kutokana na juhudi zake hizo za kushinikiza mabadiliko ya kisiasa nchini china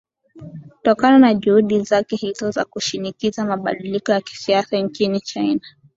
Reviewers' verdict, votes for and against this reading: accepted, 2, 0